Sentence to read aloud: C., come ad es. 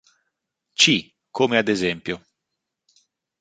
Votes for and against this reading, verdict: 1, 2, rejected